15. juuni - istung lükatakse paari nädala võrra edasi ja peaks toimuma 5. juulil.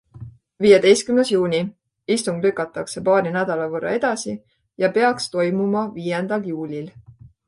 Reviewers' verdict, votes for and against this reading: rejected, 0, 2